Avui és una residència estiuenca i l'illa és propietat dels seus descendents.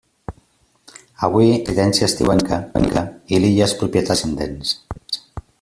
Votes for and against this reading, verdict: 0, 2, rejected